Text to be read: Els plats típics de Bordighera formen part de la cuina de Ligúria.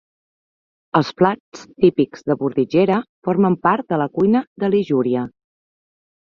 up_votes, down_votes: 0, 2